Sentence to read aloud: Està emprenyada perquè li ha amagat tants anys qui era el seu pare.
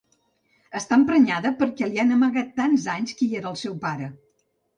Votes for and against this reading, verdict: 1, 2, rejected